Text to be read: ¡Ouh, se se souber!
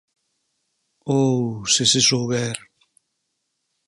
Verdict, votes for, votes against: accepted, 4, 0